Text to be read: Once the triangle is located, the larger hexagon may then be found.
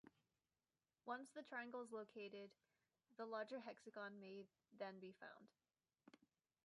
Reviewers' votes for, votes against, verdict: 2, 0, accepted